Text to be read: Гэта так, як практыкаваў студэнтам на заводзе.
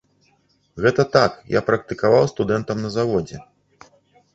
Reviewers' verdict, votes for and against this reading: rejected, 1, 2